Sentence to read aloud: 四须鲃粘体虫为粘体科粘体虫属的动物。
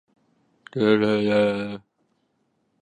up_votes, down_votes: 0, 3